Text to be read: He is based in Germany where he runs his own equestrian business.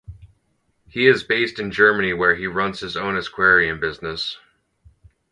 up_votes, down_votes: 2, 4